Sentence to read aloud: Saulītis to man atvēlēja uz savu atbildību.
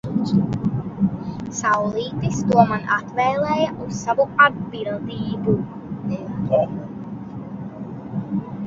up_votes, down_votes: 1, 2